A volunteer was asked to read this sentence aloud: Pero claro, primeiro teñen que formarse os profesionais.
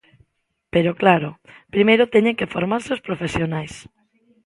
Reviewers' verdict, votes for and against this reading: accepted, 2, 0